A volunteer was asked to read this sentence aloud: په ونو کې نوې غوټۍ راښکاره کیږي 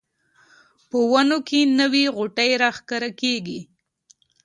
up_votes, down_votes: 2, 0